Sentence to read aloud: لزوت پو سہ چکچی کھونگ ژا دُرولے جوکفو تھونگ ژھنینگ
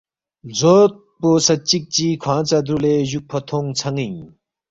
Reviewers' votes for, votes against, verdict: 2, 0, accepted